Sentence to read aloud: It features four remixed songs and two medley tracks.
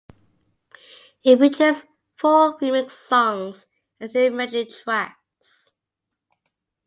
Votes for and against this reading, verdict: 0, 2, rejected